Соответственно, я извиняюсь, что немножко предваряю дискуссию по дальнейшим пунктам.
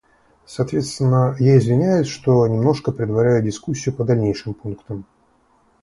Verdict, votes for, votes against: accepted, 2, 0